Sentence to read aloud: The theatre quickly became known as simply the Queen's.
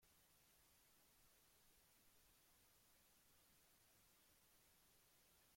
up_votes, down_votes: 0, 2